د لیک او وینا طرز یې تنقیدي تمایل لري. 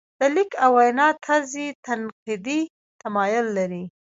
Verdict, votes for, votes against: rejected, 0, 2